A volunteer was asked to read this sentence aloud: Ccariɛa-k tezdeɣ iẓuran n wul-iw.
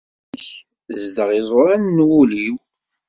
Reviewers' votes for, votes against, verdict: 1, 2, rejected